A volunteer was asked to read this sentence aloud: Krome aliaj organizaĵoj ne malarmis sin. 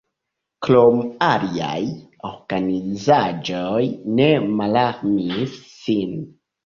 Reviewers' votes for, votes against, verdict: 3, 1, accepted